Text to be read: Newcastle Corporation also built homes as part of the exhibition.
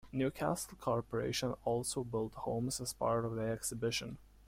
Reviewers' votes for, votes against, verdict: 2, 0, accepted